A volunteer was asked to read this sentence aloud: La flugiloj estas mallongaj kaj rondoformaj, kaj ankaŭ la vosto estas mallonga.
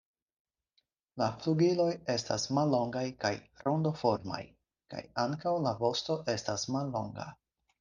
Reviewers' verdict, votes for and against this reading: accepted, 4, 0